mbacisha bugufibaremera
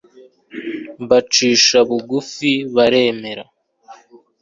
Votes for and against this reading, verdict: 2, 1, accepted